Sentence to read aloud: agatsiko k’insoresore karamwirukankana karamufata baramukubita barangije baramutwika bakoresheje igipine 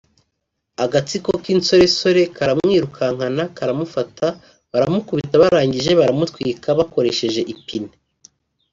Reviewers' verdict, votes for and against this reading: rejected, 0, 2